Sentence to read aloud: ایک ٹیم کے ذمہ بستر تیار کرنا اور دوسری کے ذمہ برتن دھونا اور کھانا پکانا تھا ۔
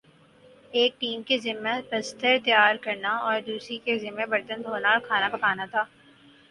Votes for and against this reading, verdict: 4, 0, accepted